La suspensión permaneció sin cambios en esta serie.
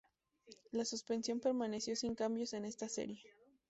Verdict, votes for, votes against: rejected, 0, 2